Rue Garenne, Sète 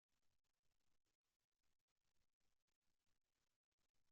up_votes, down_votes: 0, 2